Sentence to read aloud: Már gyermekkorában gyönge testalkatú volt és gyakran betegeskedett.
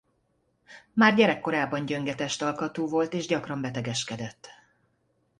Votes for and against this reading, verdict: 1, 2, rejected